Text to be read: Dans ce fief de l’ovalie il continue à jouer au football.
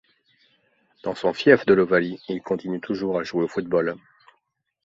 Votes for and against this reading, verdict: 0, 2, rejected